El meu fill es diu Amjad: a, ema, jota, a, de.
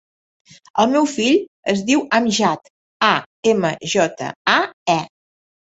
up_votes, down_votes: 0, 2